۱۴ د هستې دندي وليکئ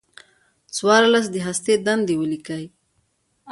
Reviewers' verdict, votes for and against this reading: rejected, 0, 2